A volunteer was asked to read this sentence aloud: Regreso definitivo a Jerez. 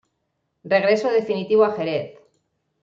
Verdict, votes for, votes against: accepted, 2, 0